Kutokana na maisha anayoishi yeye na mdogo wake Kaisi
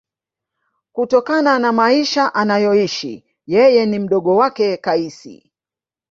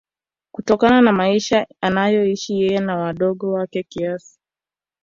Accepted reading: first